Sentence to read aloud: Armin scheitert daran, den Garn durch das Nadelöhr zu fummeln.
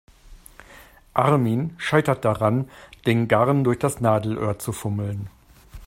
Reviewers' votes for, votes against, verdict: 2, 0, accepted